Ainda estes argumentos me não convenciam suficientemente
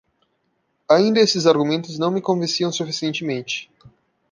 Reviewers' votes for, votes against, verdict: 1, 2, rejected